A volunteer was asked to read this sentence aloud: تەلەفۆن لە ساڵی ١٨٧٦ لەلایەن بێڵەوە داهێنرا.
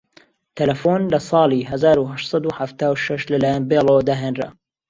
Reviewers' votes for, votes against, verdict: 0, 2, rejected